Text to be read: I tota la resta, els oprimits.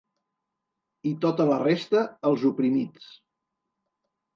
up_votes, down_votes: 3, 0